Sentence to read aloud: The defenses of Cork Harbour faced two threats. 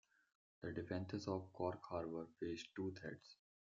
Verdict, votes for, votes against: accepted, 2, 1